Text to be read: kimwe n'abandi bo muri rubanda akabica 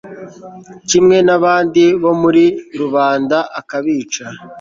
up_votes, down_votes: 2, 0